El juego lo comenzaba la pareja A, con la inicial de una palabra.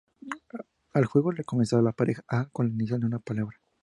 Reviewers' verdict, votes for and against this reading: accepted, 2, 0